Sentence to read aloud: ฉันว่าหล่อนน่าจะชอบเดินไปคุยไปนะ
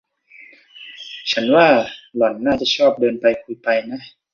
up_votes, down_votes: 2, 0